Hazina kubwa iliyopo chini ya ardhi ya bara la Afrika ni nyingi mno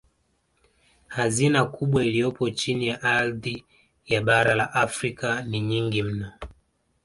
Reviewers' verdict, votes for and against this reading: accepted, 2, 0